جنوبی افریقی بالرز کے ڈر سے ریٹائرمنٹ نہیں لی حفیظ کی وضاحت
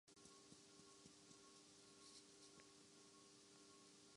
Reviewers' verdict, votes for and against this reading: rejected, 0, 2